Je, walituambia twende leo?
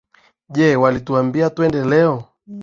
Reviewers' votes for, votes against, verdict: 5, 3, accepted